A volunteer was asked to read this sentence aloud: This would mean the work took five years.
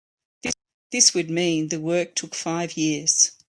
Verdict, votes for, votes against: rejected, 1, 2